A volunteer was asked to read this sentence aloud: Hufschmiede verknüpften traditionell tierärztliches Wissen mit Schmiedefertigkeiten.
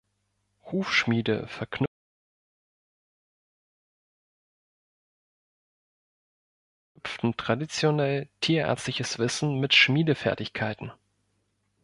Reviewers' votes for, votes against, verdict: 1, 2, rejected